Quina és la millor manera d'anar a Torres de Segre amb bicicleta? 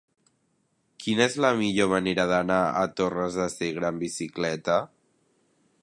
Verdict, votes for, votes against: accepted, 3, 0